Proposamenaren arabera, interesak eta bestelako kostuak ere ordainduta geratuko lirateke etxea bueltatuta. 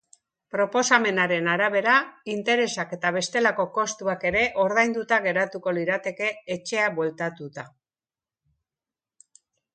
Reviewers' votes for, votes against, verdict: 2, 0, accepted